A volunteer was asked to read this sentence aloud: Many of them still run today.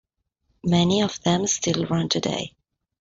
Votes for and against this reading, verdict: 2, 0, accepted